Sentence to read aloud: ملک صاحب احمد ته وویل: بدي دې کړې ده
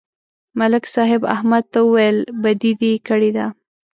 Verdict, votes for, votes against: accepted, 2, 0